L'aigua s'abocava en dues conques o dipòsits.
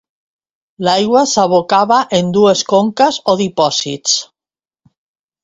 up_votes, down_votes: 2, 0